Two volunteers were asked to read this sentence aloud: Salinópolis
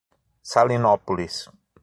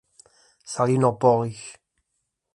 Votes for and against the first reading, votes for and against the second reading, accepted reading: 6, 0, 0, 2, first